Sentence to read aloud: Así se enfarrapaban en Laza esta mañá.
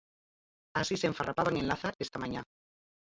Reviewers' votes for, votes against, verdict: 2, 4, rejected